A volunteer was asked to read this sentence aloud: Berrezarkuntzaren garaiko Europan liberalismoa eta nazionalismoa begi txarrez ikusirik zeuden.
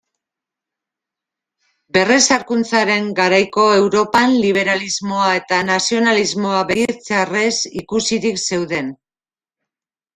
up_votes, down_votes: 1, 2